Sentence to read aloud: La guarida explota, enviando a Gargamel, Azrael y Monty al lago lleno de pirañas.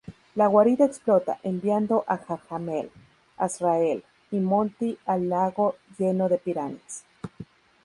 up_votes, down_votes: 2, 4